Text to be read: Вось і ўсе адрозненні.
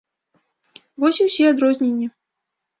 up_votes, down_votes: 2, 0